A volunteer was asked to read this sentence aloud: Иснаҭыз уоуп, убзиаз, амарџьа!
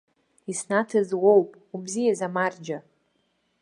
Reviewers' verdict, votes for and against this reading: accepted, 2, 0